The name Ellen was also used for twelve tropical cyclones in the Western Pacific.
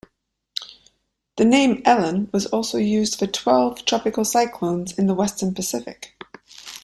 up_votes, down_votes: 2, 0